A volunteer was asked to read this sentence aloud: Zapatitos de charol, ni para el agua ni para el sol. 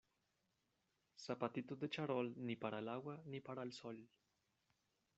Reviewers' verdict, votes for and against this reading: accepted, 2, 1